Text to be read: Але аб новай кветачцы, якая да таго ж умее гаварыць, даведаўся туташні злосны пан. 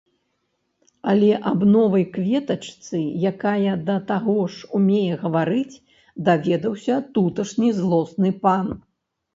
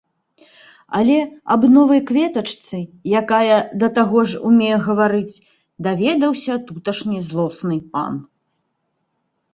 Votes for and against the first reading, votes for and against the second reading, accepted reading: 1, 2, 2, 0, second